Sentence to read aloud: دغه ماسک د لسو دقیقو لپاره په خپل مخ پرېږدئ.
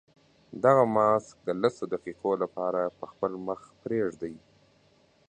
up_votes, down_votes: 2, 0